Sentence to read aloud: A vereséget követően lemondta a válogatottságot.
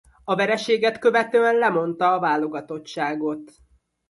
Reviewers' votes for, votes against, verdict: 2, 0, accepted